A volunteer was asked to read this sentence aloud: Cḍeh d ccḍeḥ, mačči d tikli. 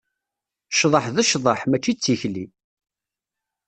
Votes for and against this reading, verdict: 2, 0, accepted